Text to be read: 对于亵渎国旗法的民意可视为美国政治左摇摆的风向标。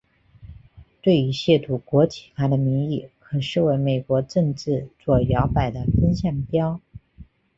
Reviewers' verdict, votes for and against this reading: accepted, 2, 1